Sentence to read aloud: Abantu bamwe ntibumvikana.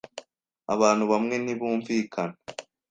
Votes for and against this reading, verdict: 2, 0, accepted